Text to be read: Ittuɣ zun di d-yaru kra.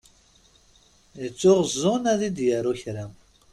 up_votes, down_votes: 0, 2